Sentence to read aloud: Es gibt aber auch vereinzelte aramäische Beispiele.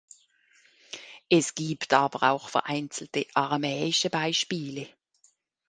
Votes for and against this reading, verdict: 2, 0, accepted